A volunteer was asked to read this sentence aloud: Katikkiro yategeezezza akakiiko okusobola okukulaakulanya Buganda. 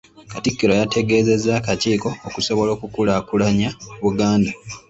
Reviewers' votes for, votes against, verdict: 2, 0, accepted